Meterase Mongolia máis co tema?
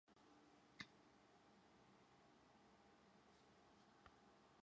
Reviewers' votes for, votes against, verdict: 0, 4, rejected